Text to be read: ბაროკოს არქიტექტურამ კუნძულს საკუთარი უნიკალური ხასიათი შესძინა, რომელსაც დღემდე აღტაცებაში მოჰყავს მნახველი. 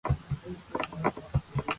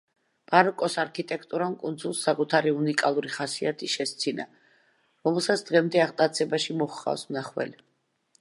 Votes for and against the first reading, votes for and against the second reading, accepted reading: 0, 2, 2, 0, second